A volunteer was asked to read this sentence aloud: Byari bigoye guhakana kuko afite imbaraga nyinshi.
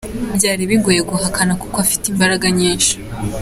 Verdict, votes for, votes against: accepted, 3, 0